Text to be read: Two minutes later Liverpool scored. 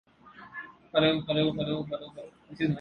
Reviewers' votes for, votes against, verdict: 1, 2, rejected